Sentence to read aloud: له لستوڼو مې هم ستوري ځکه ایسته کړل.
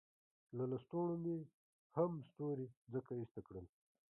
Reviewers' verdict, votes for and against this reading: rejected, 0, 2